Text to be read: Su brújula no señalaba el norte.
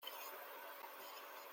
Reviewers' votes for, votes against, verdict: 0, 2, rejected